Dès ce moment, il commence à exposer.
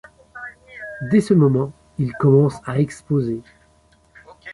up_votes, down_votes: 1, 2